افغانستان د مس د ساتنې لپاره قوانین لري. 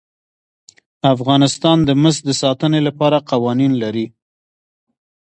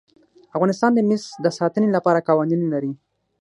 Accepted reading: first